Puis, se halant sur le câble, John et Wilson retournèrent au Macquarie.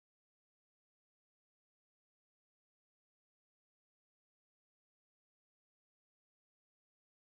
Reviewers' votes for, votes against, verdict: 1, 2, rejected